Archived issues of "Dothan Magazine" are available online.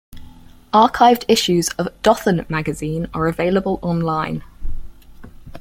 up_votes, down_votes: 4, 0